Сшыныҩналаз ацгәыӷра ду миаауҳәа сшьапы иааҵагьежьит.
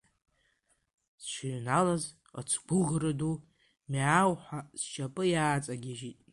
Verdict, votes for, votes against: rejected, 1, 2